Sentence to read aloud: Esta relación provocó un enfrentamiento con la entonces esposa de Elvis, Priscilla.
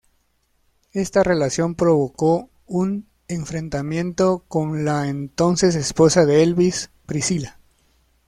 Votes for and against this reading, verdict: 2, 0, accepted